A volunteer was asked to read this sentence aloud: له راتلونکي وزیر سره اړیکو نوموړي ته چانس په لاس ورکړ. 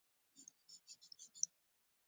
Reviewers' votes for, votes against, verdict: 0, 2, rejected